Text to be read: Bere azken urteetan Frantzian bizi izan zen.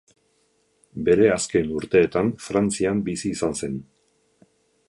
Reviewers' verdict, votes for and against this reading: accepted, 2, 0